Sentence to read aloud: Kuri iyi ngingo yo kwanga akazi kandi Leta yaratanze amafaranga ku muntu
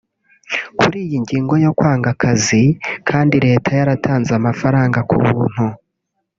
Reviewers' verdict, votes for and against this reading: rejected, 1, 3